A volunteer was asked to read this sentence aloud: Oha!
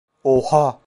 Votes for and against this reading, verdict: 2, 0, accepted